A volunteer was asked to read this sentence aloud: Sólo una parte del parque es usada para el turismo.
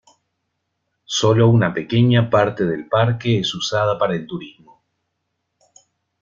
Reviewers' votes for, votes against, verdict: 1, 2, rejected